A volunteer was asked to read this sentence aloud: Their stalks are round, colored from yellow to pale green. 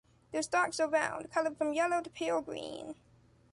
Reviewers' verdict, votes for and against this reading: accepted, 2, 0